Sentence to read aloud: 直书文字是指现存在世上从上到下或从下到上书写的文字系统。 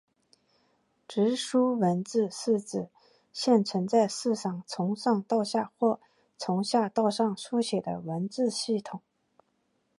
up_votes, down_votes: 2, 1